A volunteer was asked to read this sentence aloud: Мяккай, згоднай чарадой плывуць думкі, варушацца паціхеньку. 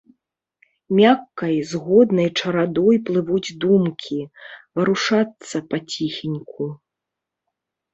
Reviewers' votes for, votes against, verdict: 1, 2, rejected